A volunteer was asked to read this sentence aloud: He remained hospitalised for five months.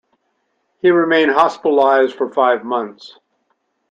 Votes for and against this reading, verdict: 2, 0, accepted